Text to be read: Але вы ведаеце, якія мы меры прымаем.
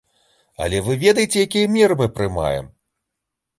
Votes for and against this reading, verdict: 1, 2, rejected